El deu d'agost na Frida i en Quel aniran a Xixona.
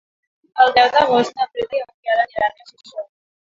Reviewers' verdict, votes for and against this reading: rejected, 0, 3